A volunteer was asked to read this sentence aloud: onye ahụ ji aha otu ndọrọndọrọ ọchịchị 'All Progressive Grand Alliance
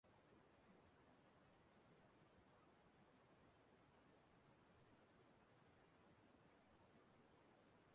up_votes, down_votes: 0, 2